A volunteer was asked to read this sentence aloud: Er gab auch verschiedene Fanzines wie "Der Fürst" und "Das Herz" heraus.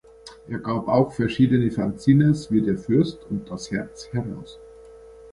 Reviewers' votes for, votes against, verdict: 1, 2, rejected